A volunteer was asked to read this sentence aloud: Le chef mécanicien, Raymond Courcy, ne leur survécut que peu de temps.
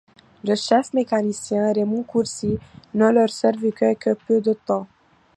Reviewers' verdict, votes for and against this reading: accepted, 2, 0